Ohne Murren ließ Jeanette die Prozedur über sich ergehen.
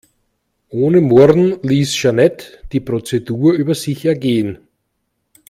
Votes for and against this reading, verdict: 2, 0, accepted